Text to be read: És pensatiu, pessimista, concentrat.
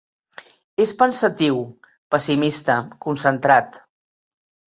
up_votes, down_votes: 3, 0